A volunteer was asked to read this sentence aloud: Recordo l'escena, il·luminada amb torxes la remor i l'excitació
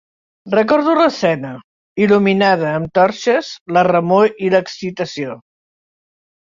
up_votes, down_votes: 2, 1